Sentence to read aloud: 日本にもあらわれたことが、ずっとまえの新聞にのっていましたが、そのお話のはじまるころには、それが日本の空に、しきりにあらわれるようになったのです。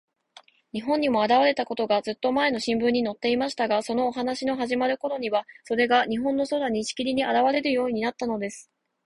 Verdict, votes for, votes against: accepted, 2, 0